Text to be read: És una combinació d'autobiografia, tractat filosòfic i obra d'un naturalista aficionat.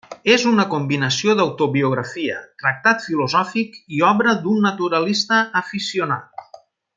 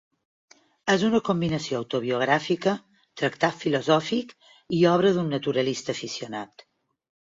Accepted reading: first